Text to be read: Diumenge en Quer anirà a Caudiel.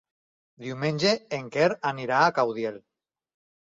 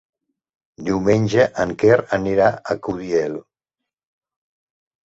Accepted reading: first